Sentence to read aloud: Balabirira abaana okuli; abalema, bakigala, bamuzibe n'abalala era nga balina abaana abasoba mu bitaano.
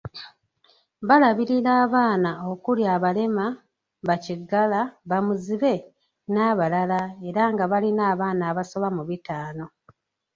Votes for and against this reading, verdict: 3, 0, accepted